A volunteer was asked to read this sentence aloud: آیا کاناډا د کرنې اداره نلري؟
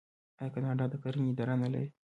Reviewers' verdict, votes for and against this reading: rejected, 0, 2